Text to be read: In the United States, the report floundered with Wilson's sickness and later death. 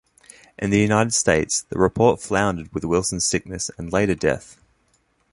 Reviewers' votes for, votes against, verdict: 2, 0, accepted